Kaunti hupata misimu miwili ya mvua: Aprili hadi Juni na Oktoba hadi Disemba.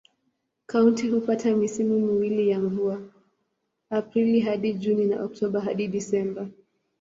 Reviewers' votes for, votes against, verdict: 2, 0, accepted